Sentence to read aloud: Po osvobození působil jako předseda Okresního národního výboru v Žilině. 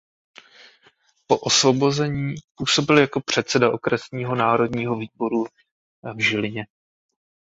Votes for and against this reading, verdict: 2, 1, accepted